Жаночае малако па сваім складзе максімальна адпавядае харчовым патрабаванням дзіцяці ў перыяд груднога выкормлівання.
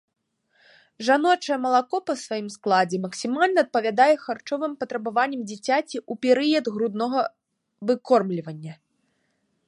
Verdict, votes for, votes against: accepted, 2, 0